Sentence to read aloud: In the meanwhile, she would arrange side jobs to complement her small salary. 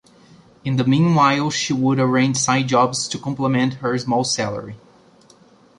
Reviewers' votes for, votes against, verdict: 2, 0, accepted